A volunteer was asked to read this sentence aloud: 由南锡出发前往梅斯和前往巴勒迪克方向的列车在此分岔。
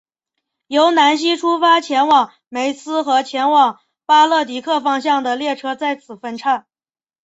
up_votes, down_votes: 3, 0